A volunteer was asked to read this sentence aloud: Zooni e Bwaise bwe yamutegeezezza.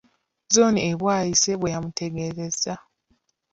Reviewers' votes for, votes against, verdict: 2, 0, accepted